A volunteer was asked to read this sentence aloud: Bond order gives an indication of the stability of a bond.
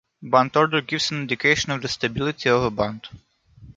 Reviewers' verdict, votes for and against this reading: rejected, 0, 2